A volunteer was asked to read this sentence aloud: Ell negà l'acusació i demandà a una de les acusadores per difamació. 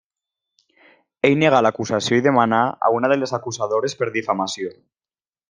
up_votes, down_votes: 0, 2